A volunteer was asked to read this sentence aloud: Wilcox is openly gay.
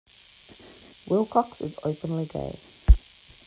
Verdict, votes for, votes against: accepted, 2, 0